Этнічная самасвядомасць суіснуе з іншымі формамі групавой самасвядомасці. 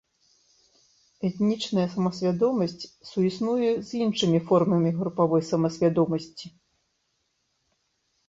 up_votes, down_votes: 2, 0